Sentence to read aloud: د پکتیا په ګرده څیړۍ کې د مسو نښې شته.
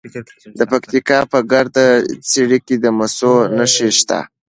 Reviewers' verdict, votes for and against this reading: accepted, 2, 0